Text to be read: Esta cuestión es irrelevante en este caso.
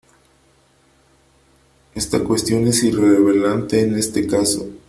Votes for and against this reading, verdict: 0, 3, rejected